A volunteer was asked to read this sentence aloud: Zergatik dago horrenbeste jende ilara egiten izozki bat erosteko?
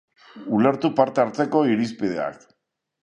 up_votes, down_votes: 0, 2